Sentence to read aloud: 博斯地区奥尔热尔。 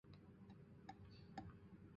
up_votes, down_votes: 0, 2